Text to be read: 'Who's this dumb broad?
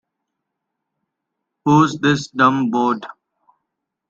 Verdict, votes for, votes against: rejected, 0, 2